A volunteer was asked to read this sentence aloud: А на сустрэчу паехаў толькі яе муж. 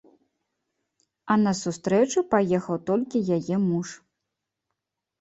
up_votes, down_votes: 2, 0